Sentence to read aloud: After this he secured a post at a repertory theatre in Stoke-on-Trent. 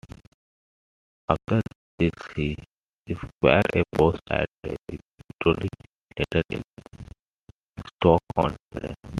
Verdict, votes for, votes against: accepted, 2, 1